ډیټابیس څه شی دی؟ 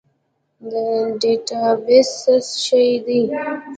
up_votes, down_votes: 2, 3